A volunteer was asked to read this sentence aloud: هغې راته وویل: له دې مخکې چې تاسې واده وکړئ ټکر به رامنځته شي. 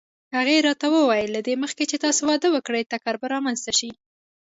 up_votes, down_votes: 2, 0